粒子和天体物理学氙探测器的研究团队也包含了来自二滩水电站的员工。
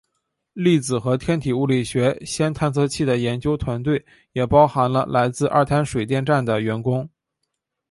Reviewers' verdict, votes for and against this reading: accepted, 2, 1